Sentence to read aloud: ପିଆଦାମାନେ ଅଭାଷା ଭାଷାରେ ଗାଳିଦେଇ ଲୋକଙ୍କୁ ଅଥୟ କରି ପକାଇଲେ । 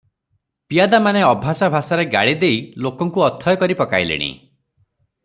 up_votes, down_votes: 0, 3